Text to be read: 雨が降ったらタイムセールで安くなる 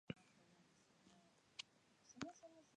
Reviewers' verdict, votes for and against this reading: rejected, 2, 6